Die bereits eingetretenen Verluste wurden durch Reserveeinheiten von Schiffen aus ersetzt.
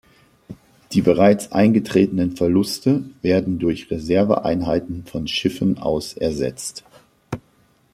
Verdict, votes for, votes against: rejected, 0, 2